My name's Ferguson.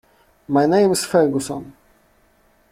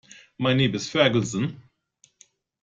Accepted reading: first